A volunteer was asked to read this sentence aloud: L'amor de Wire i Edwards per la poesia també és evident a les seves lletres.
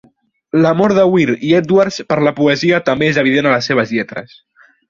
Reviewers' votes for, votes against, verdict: 0, 2, rejected